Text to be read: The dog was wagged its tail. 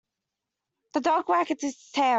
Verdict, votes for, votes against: rejected, 1, 2